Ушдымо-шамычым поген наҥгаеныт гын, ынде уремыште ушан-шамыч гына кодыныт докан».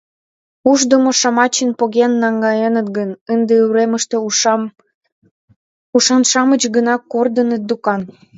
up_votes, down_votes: 0, 2